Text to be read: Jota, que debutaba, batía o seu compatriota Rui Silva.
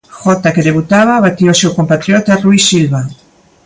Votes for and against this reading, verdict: 2, 0, accepted